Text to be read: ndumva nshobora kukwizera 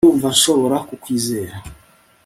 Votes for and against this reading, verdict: 3, 0, accepted